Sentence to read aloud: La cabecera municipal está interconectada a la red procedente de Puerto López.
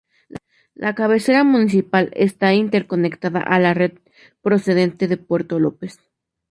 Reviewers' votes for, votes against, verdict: 2, 0, accepted